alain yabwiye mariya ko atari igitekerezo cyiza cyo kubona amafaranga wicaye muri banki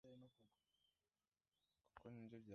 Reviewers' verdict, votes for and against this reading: rejected, 0, 2